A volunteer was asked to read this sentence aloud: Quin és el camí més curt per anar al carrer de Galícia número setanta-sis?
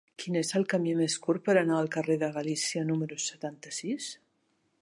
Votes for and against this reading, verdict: 3, 0, accepted